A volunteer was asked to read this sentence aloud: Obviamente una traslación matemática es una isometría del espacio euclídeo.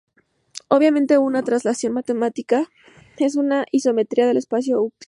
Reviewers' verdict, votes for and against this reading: rejected, 0, 2